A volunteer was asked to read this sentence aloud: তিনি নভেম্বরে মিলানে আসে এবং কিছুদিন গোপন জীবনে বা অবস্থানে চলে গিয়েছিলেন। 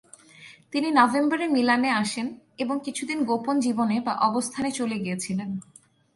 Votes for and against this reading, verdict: 6, 0, accepted